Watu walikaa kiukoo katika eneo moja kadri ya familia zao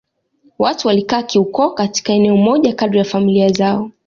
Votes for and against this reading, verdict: 2, 0, accepted